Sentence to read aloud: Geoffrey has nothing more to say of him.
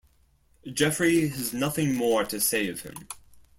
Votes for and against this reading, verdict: 2, 0, accepted